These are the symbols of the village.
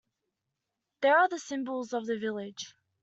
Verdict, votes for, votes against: rejected, 0, 3